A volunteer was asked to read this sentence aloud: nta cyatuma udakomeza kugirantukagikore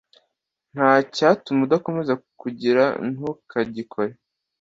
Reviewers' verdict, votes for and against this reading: accepted, 2, 0